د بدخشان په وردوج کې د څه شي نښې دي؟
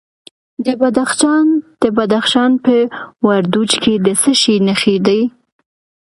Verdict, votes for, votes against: accepted, 2, 0